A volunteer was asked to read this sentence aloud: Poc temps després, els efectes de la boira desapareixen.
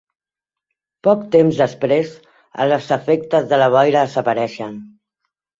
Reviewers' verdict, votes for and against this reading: rejected, 0, 2